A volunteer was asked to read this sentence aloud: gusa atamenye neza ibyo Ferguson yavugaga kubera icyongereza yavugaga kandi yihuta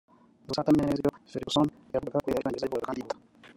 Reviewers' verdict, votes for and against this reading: rejected, 0, 2